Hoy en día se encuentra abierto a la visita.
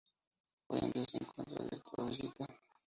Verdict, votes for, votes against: rejected, 0, 2